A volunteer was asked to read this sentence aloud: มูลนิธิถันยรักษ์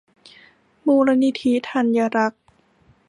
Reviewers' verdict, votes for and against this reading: rejected, 1, 2